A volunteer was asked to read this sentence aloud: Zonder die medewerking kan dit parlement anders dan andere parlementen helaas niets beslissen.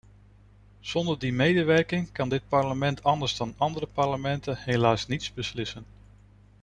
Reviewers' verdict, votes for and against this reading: accepted, 2, 0